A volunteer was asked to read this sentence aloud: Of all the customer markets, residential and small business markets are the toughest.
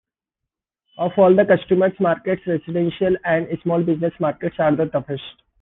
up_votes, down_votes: 2, 0